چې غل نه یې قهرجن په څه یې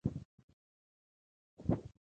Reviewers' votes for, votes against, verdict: 0, 3, rejected